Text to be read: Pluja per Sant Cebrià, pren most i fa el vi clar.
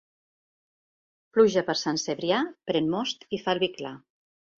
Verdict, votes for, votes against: accepted, 2, 0